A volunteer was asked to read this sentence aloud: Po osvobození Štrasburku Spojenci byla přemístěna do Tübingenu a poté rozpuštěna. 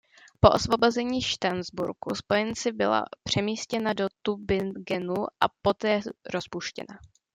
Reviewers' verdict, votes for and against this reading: rejected, 0, 2